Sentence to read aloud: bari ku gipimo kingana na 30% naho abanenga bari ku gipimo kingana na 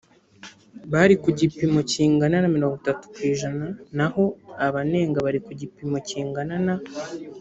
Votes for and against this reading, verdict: 0, 2, rejected